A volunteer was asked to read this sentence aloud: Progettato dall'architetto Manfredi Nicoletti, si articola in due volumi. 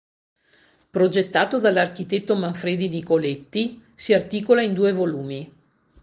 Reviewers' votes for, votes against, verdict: 2, 0, accepted